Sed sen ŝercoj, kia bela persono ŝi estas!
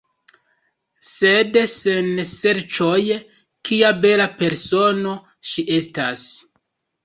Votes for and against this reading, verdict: 0, 2, rejected